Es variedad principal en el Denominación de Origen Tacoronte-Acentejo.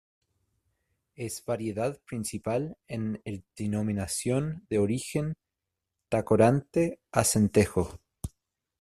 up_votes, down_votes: 1, 3